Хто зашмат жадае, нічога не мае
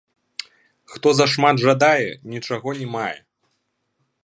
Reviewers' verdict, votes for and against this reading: rejected, 1, 2